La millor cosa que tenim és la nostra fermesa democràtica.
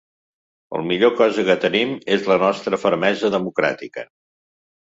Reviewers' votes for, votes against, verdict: 0, 2, rejected